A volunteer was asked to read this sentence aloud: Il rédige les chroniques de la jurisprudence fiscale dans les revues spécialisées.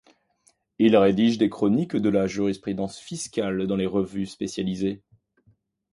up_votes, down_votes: 1, 2